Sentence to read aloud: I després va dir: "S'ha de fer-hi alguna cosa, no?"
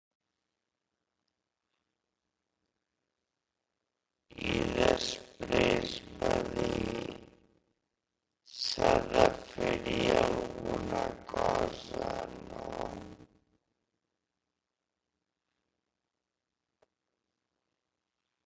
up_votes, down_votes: 0, 3